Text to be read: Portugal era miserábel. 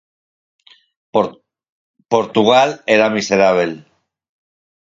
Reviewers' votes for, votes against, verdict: 0, 4, rejected